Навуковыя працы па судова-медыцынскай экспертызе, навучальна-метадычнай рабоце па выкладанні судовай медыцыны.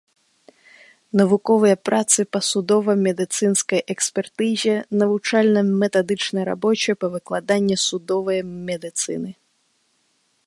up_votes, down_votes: 2, 0